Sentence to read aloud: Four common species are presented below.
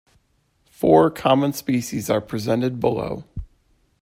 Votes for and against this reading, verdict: 2, 0, accepted